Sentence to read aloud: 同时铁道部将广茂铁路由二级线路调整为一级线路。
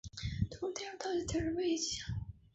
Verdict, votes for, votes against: rejected, 1, 3